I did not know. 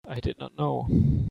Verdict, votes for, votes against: accepted, 2, 0